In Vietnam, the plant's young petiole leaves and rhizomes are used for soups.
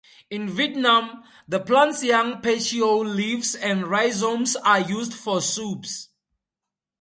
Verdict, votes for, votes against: accepted, 4, 0